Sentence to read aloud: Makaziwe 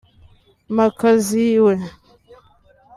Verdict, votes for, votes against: rejected, 1, 2